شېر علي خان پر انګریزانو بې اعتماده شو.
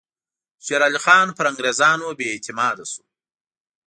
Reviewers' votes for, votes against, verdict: 2, 0, accepted